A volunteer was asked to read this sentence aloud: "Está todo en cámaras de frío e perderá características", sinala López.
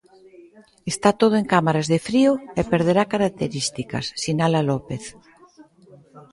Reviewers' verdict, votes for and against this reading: accepted, 2, 1